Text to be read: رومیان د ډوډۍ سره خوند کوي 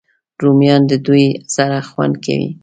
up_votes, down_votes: 1, 2